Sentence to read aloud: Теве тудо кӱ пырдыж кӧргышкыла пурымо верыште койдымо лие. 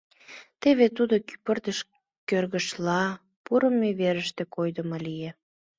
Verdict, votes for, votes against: rejected, 1, 2